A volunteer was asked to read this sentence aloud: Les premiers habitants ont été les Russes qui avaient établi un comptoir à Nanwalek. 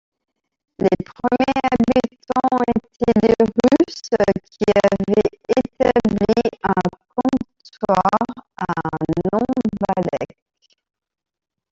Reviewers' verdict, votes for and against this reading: accepted, 2, 1